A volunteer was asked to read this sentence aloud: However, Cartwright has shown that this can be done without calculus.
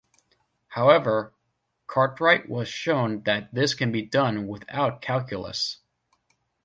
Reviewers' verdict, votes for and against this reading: rejected, 1, 2